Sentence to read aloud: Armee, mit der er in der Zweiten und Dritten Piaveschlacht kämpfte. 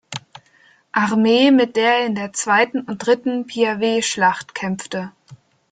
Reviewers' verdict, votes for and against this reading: accepted, 3, 0